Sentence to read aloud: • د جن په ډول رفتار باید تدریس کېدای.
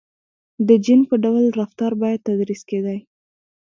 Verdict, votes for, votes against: rejected, 0, 2